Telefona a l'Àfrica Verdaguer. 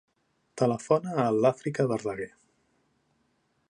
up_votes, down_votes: 2, 0